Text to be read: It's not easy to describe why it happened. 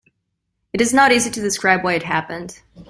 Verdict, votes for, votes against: accepted, 2, 0